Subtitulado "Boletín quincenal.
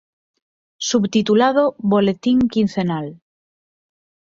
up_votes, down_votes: 6, 0